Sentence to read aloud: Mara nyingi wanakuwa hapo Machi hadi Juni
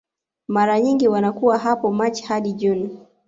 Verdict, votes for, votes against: rejected, 1, 2